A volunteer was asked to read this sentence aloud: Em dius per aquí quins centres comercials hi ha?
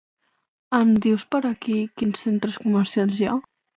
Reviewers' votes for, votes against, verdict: 2, 0, accepted